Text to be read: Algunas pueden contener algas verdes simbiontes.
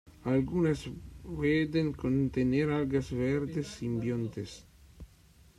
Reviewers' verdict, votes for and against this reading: rejected, 0, 2